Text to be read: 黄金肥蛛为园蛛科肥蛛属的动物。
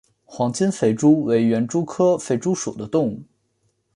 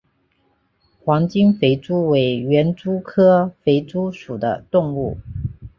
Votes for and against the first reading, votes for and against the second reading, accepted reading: 2, 0, 1, 2, first